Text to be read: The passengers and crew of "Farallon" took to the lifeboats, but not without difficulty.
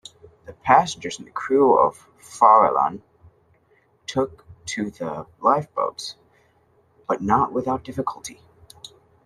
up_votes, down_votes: 2, 0